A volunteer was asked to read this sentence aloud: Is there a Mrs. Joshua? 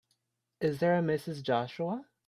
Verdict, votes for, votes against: accepted, 2, 0